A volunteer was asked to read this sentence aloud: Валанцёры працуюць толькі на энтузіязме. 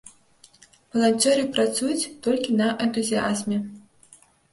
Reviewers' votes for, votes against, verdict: 0, 2, rejected